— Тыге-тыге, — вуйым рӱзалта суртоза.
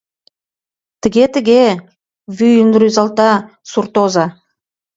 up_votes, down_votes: 3, 1